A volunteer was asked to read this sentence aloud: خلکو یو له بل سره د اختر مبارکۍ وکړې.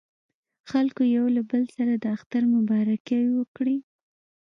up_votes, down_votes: 2, 0